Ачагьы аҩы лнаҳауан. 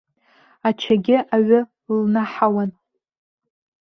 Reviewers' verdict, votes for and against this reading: accepted, 2, 1